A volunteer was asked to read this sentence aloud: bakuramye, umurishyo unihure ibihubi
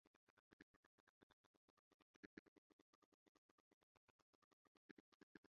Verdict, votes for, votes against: rejected, 0, 2